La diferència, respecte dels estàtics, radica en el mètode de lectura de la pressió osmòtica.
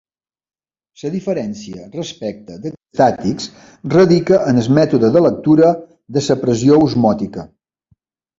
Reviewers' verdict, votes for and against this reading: rejected, 0, 2